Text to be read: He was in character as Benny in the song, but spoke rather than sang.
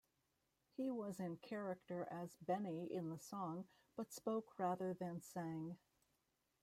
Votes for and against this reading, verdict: 2, 0, accepted